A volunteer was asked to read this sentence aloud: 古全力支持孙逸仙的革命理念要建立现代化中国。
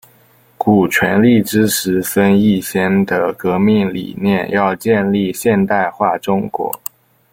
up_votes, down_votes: 2, 0